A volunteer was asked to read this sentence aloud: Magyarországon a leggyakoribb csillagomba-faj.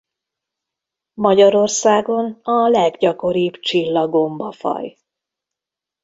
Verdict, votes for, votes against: accepted, 2, 0